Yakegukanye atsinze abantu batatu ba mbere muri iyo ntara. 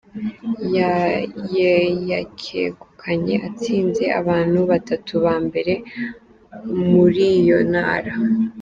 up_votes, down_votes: 1, 2